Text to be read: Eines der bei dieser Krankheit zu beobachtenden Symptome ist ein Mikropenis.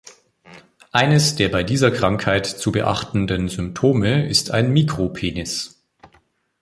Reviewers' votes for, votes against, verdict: 2, 3, rejected